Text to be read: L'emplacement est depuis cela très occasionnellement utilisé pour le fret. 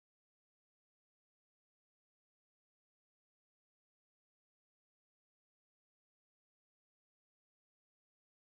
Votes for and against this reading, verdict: 0, 2, rejected